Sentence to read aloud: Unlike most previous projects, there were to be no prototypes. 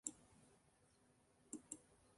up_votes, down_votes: 0, 2